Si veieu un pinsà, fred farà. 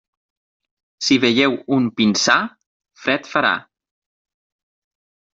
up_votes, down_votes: 6, 0